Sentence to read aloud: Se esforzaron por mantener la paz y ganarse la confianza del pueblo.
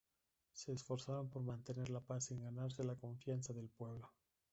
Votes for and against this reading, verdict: 0, 2, rejected